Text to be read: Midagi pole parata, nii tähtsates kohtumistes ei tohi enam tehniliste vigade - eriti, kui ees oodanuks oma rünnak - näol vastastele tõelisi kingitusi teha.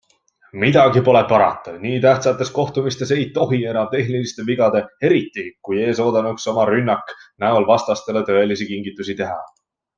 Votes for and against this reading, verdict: 2, 0, accepted